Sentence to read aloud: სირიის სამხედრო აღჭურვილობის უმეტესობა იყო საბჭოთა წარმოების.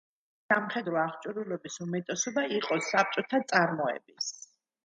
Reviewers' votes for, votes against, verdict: 0, 2, rejected